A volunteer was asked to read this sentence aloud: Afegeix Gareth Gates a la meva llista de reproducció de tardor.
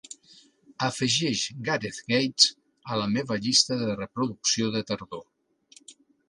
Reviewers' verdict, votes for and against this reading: accepted, 2, 0